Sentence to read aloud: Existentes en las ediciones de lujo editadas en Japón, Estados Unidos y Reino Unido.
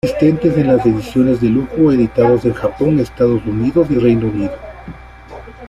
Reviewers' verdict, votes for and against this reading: rejected, 1, 2